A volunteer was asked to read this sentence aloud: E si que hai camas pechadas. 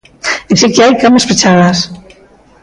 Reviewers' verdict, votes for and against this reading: rejected, 1, 2